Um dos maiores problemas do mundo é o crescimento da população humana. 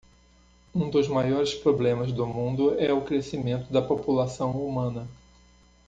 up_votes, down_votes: 2, 0